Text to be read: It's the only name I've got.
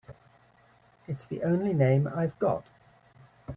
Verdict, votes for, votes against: accepted, 3, 0